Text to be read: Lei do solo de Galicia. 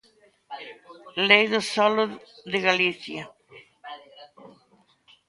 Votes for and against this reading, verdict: 2, 0, accepted